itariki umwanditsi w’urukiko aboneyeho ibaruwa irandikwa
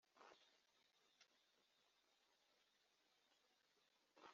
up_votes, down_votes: 0, 3